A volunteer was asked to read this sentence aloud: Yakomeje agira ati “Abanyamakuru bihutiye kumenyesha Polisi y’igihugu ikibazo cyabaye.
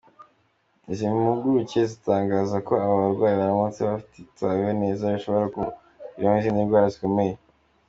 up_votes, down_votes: 0, 2